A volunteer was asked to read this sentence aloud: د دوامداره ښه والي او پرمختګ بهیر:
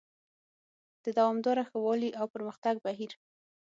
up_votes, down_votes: 6, 0